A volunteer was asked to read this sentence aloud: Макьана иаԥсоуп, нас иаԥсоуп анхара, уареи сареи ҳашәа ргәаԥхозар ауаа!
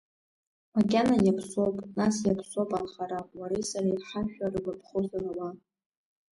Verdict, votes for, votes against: accepted, 2, 0